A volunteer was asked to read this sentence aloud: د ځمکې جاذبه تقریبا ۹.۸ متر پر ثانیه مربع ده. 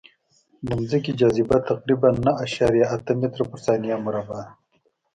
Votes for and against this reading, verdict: 0, 2, rejected